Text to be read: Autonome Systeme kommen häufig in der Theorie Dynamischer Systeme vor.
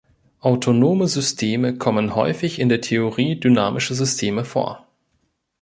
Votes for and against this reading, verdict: 0, 2, rejected